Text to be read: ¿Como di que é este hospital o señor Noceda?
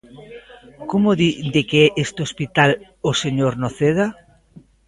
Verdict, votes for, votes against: rejected, 0, 2